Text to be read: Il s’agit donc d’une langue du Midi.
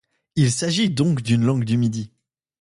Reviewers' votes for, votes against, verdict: 2, 0, accepted